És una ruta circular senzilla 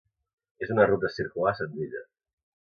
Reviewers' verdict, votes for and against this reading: accepted, 2, 0